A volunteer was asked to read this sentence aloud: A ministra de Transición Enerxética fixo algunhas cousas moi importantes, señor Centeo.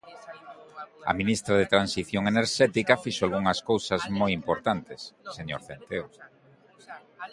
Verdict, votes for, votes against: rejected, 1, 2